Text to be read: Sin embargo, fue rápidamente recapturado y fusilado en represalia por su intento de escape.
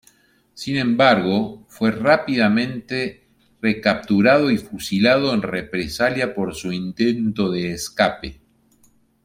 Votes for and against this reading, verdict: 1, 2, rejected